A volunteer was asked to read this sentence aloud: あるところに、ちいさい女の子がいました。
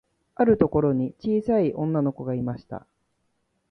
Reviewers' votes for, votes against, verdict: 1, 2, rejected